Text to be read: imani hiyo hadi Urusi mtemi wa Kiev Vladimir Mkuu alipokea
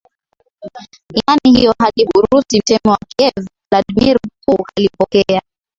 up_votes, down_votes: 7, 2